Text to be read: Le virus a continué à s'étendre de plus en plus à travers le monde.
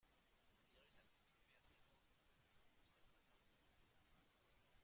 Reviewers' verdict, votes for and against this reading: rejected, 0, 2